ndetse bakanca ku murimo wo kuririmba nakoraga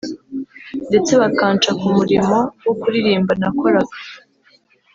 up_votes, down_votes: 2, 0